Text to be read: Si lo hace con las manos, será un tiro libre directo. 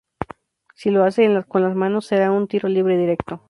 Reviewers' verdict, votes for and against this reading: accepted, 4, 0